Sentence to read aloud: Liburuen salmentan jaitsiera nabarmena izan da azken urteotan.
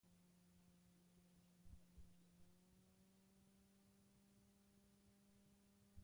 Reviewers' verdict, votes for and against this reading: rejected, 0, 2